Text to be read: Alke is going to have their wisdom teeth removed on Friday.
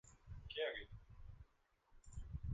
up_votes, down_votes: 0, 2